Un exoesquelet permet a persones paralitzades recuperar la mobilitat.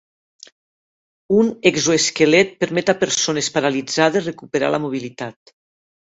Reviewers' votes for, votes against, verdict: 2, 0, accepted